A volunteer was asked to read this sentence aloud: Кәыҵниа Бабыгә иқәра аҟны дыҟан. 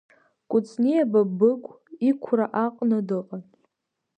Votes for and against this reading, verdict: 1, 2, rejected